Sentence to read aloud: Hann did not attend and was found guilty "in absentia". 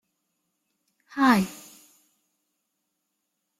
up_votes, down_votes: 0, 2